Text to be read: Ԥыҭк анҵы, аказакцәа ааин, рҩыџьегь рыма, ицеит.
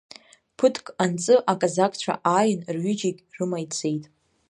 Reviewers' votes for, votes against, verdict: 1, 2, rejected